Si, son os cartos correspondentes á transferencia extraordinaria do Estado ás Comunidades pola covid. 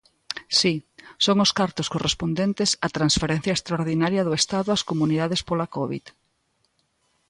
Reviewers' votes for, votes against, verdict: 2, 0, accepted